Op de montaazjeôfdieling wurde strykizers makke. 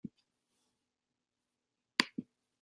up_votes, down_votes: 0, 2